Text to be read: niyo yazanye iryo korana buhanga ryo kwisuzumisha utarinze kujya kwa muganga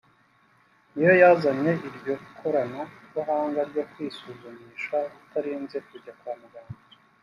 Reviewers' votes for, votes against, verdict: 3, 0, accepted